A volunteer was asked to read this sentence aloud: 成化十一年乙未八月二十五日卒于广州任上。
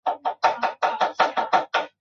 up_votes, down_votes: 1, 2